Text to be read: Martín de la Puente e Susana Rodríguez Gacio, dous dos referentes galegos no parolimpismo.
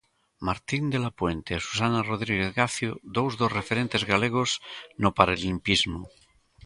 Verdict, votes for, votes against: accepted, 2, 1